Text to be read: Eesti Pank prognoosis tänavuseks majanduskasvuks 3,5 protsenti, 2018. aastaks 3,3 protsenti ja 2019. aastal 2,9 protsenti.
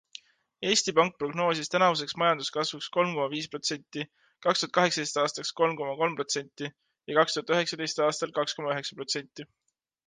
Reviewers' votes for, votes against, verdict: 0, 2, rejected